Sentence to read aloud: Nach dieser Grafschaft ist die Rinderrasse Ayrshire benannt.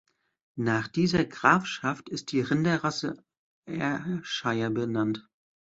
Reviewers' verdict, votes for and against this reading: rejected, 1, 2